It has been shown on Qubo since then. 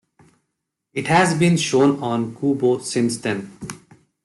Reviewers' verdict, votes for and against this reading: accepted, 2, 0